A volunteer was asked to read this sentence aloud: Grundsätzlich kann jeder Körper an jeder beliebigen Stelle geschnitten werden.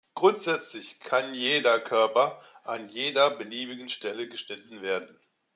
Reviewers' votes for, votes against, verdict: 2, 0, accepted